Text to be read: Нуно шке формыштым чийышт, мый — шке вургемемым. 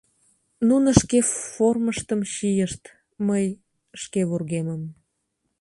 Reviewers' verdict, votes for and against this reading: rejected, 0, 2